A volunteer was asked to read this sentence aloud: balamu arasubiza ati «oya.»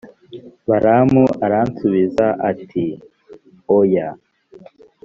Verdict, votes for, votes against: rejected, 1, 2